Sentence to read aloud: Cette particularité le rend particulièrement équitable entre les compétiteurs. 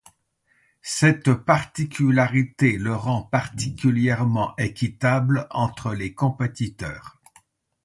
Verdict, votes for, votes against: accepted, 2, 0